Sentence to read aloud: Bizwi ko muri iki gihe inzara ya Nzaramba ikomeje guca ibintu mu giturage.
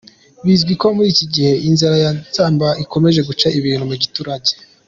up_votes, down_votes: 2, 0